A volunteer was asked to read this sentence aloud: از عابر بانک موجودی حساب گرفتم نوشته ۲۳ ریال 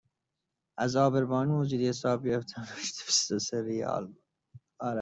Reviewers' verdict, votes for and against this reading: rejected, 0, 2